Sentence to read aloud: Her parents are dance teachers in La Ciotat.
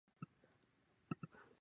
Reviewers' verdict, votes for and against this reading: rejected, 0, 2